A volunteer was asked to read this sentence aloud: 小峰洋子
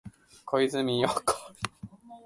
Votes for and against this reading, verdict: 0, 7, rejected